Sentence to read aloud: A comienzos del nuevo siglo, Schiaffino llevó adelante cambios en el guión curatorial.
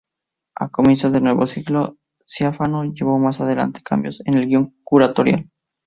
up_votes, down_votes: 0, 4